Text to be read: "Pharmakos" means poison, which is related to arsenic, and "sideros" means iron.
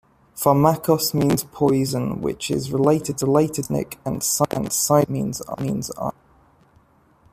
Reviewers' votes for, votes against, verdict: 0, 2, rejected